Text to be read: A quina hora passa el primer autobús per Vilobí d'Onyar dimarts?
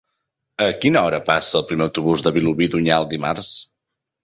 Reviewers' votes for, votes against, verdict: 0, 2, rejected